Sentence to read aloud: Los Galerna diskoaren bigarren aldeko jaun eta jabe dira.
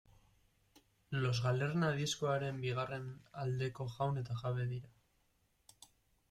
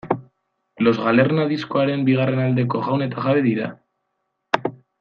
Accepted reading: second